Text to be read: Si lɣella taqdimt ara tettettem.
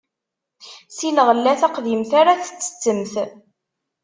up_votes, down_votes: 2, 1